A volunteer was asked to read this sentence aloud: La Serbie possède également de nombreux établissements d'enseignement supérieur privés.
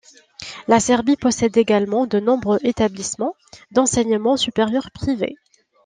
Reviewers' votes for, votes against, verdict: 2, 0, accepted